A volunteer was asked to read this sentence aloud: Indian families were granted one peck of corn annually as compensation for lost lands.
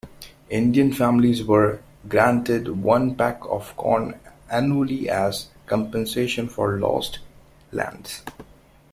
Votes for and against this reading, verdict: 2, 1, accepted